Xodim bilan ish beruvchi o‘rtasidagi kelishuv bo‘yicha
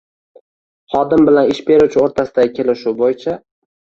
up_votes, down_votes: 1, 2